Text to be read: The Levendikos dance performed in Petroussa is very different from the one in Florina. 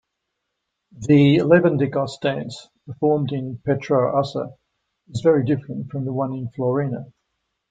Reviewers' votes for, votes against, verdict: 2, 0, accepted